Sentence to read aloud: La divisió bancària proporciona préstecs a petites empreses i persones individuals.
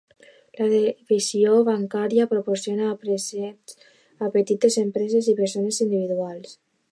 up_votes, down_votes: 0, 2